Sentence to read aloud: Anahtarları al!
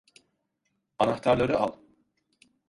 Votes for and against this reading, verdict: 2, 0, accepted